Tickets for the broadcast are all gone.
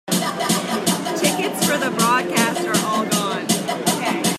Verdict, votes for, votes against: accepted, 3, 1